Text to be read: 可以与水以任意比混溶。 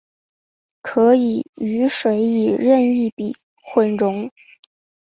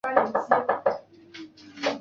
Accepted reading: first